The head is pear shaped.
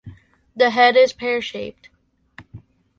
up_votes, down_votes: 2, 1